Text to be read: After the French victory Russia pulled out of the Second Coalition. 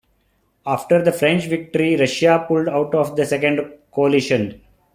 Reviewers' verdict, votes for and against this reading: rejected, 1, 2